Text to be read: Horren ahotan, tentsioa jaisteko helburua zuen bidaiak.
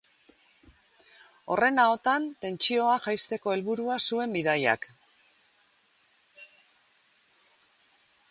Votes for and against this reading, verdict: 0, 2, rejected